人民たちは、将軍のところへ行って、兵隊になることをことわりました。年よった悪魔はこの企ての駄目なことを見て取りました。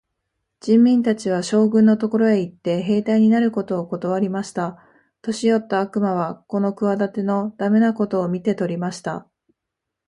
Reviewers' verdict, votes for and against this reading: accepted, 2, 1